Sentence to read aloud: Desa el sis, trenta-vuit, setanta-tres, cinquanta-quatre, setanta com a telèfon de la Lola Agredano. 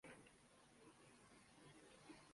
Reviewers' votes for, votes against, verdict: 0, 2, rejected